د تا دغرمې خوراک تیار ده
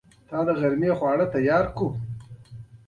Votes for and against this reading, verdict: 2, 0, accepted